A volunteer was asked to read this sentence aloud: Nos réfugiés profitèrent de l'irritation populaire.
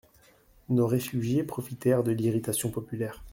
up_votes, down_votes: 2, 0